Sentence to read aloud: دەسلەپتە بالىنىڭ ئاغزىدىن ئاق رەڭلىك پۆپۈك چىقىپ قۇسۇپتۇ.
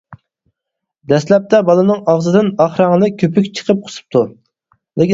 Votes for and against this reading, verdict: 0, 4, rejected